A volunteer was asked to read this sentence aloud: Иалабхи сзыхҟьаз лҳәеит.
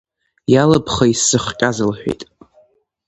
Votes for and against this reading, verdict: 2, 0, accepted